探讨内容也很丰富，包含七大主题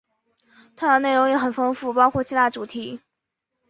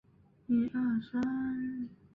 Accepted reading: first